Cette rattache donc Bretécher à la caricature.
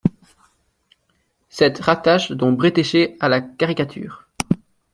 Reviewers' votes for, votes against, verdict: 1, 2, rejected